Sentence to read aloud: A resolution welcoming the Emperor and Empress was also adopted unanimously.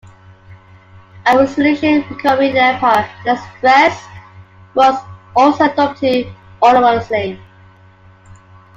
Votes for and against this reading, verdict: 0, 2, rejected